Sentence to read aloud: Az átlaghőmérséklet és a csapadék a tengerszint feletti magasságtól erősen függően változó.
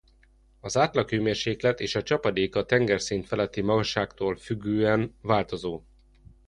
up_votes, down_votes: 0, 2